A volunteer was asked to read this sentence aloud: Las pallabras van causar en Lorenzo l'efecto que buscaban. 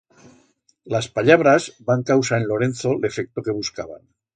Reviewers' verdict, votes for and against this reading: accepted, 2, 0